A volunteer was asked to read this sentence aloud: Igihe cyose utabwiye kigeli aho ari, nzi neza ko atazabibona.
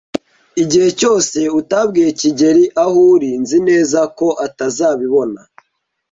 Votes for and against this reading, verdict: 1, 2, rejected